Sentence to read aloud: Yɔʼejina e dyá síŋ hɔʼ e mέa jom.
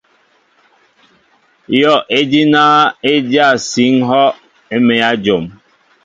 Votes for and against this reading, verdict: 2, 0, accepted